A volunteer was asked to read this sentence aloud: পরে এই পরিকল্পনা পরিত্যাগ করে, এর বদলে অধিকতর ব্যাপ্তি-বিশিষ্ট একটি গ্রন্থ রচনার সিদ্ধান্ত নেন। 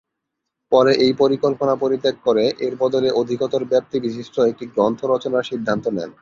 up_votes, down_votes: 2, 0